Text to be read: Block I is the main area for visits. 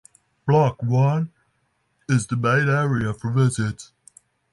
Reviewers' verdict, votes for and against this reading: accepted, 6, 0